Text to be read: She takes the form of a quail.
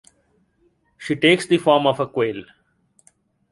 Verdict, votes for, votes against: accepted, 2, 0